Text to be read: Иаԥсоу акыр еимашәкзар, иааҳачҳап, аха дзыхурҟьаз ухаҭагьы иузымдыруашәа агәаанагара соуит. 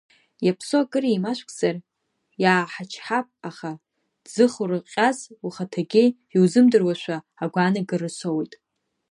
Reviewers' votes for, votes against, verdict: 0, 2, rejected